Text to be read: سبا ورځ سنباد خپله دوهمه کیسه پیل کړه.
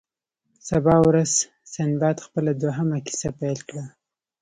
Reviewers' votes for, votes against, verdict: 2, 0, accepted